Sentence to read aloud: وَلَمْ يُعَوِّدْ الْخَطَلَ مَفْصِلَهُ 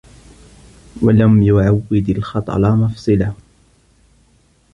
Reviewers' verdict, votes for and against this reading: accepted, 2, 0